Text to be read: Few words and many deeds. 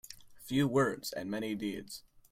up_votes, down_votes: 2, 0